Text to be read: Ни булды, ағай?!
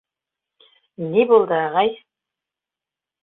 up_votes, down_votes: 2, 0